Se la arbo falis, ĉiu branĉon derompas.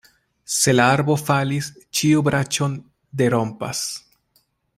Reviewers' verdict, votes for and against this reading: accepted, 2, 0